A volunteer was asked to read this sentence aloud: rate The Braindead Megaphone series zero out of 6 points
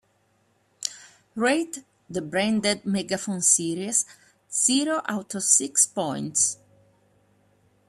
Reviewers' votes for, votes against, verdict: 0, 2, rejected